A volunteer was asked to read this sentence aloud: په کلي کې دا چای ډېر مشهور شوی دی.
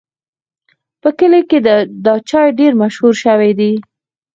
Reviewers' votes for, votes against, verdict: 2, 4, rejected